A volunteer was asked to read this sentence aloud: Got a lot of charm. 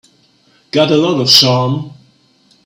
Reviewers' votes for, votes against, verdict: 1, 2, rejected